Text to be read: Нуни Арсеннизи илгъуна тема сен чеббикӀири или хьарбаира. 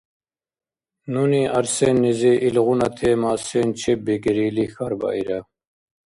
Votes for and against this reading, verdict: 2, 0, accepted